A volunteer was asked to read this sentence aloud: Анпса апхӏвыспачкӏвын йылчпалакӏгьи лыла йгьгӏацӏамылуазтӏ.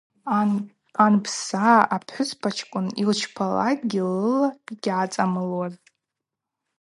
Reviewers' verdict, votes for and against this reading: accepted, 4, 0